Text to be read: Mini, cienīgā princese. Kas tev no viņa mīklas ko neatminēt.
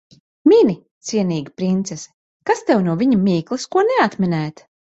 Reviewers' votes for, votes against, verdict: 0, 2, rejected